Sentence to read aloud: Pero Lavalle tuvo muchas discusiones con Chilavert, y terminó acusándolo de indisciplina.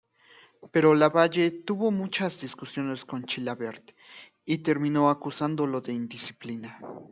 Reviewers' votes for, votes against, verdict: 2, 1, accepted